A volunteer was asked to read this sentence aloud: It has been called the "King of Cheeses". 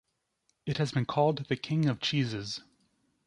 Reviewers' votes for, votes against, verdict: 2, 0, accepted